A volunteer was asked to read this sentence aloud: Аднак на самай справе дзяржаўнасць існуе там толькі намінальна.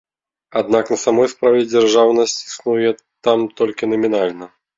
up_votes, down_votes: 2, 0